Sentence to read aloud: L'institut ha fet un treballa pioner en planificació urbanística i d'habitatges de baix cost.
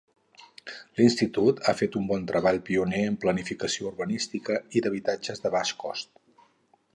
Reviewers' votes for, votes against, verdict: 0, 4, rejected